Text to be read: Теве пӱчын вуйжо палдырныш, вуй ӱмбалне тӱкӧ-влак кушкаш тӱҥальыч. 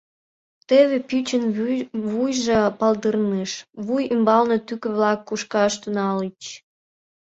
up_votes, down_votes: 2, 1